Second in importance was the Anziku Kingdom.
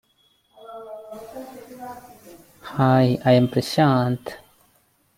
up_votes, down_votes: 0, 2